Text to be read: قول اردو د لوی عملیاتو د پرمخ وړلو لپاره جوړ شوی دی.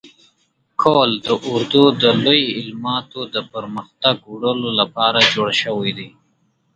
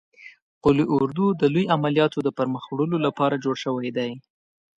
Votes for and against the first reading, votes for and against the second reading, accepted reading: 2, 3, 2, 0, second